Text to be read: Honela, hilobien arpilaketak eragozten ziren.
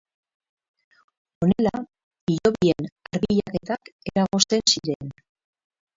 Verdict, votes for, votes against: rejected, 2, 4